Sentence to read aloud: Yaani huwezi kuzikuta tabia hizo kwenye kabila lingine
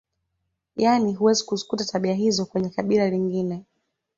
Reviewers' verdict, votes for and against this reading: accepted, 2, 0